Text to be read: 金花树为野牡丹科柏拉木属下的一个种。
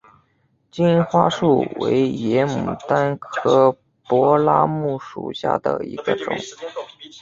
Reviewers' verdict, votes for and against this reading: accepted, 2, 0